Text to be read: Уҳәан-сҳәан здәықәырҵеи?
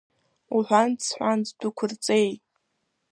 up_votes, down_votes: 0, 2